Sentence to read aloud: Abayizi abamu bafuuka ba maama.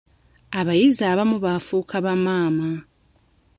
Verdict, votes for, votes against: rejected, 1, 2